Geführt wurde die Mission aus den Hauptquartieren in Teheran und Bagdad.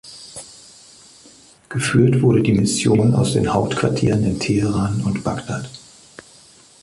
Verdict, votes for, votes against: accepted, 2, 0